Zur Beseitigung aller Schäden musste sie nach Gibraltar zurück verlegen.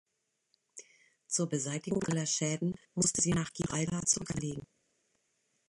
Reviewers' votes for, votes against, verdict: 1, 2, rejected